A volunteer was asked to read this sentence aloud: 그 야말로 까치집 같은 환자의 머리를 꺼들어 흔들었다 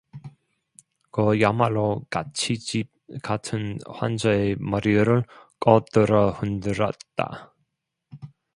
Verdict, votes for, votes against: rejected, 0, 2